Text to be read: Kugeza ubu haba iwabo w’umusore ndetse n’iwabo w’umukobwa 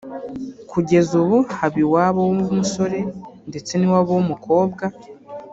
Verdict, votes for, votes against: accepted, 2, 0